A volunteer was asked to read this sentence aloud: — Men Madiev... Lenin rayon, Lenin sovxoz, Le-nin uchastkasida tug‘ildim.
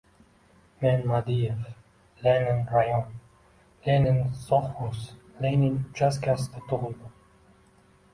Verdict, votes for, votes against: rejected, 1, 2